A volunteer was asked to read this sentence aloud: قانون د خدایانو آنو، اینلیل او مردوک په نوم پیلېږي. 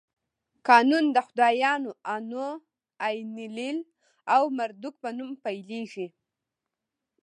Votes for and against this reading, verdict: 2, 0, accepted